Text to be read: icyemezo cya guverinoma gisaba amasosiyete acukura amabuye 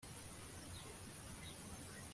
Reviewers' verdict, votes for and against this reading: rejected, 0, 2